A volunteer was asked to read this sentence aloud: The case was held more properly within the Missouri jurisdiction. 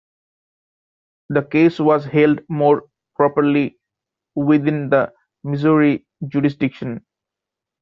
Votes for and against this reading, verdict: 2, 0, accepted